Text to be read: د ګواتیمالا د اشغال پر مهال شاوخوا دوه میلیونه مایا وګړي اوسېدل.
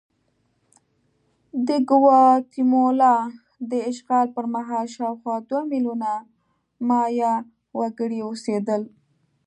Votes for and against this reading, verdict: 1, 2, rejected